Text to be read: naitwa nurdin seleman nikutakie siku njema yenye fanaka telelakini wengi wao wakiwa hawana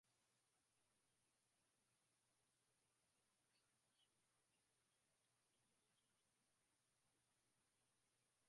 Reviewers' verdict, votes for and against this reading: rejected, 0, 2